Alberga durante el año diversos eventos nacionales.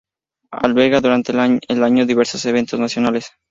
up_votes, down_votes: 0, 4